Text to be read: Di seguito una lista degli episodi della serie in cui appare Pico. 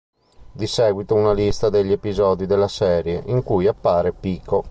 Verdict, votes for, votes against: accepted, 2, 0